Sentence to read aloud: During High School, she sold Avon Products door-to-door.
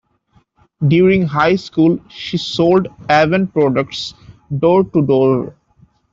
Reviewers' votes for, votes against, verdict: 2, 0, accepted